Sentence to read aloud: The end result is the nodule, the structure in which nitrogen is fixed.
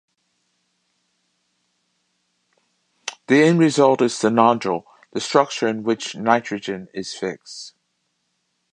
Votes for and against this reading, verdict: 2, 0, accepted